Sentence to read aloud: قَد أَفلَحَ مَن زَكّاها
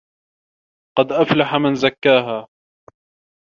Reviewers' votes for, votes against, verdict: 2, 0, accepted